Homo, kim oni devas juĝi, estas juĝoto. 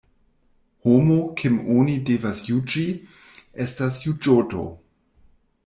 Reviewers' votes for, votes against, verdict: 0, 2, rejected